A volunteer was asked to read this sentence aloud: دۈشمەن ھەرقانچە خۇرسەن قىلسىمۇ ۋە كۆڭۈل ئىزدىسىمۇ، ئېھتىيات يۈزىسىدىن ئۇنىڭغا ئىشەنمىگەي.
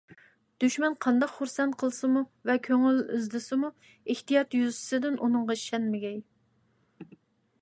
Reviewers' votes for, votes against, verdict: 0, 2, rejected